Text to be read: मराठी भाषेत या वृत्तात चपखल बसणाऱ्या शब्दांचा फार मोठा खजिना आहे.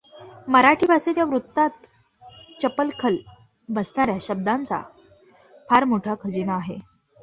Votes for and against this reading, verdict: 0, 2, rejected